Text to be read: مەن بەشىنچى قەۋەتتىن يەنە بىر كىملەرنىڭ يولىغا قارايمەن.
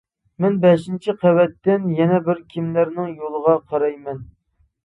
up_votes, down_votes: 2, 0